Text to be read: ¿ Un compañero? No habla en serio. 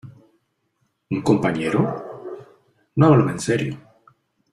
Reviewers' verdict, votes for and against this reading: rejected, 0, 2